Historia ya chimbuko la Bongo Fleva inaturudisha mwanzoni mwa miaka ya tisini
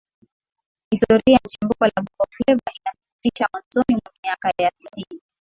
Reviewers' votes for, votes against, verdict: 2, 3, rejected